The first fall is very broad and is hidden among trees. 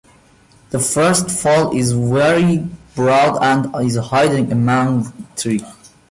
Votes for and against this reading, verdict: 0, 2, rejected